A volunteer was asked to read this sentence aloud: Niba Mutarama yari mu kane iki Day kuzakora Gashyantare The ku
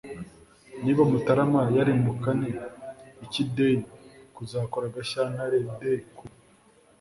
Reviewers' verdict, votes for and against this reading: accepted, 2, 0